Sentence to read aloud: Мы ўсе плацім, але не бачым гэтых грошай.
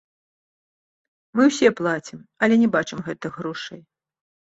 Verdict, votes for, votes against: accepted, 2, 0